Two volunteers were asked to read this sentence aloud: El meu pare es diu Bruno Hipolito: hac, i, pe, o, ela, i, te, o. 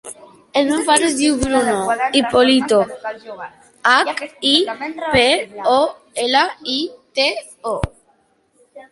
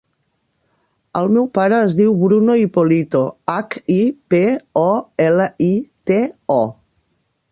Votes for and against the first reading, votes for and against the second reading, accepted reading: 0, 3, 2, 0, second